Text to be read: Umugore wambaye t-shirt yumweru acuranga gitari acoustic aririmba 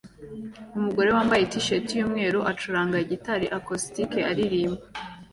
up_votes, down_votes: 2, 0